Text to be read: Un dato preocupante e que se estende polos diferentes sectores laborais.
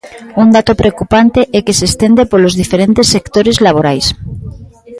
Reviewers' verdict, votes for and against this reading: rejected, 0, 2